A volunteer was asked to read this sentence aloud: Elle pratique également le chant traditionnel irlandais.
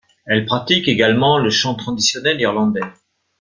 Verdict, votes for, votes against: accepted, 2, 0